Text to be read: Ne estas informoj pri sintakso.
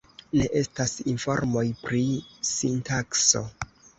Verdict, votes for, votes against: accepted, 2, 0